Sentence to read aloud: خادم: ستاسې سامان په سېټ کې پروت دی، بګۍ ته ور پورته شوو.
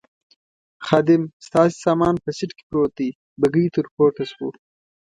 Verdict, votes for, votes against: rejected, 1, 2